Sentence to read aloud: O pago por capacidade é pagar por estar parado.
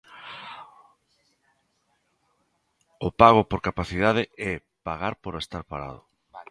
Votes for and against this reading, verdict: 2, 0, accepted